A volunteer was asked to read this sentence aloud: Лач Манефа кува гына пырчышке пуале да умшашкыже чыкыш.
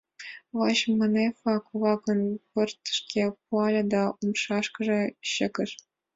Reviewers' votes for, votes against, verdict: 0, 2, rejected